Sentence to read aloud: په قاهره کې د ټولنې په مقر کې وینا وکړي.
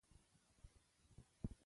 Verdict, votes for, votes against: rejected, 1, 2